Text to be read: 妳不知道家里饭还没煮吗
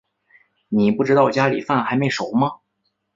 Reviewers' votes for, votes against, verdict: 0, 2, rejected